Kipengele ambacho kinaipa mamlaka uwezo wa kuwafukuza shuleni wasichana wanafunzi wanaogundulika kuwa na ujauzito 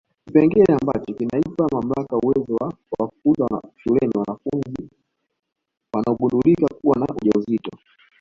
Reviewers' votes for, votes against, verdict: 0, 2, rejected